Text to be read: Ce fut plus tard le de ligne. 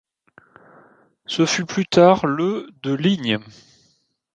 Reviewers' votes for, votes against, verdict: 2, 0, accepted